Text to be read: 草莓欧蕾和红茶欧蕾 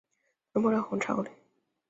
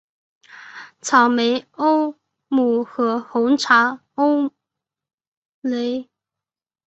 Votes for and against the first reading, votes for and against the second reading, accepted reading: 2, 1, 0, 2, first